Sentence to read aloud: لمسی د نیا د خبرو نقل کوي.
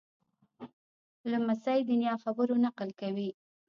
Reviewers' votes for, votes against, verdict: 1, 2, rejected